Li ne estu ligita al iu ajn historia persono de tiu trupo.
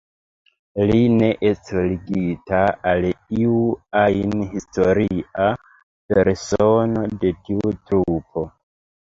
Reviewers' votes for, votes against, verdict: 1, 2, rejected